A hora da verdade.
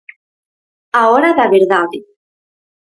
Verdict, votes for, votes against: accepted, 4, 0